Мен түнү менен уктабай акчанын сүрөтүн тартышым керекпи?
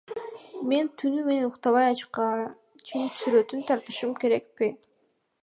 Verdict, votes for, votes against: rejected, 0, 2